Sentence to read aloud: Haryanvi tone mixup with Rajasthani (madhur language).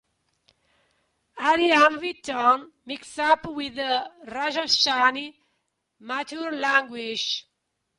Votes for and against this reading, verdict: 1, 2, rejected